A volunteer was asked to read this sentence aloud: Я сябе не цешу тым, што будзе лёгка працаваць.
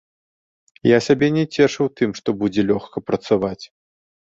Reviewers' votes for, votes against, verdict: 2, 1, accepted